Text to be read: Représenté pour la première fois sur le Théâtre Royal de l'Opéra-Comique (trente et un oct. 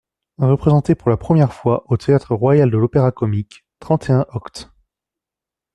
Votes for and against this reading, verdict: 1, 2, rejected